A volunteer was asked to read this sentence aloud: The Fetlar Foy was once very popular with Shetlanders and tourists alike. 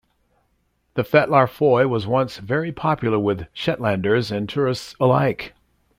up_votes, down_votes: 2, 0